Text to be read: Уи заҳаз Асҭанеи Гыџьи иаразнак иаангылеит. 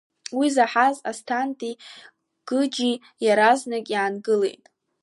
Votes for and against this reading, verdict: 2, 0, accepted